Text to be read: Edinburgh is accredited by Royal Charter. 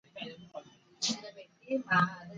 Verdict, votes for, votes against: rejected, 0, 2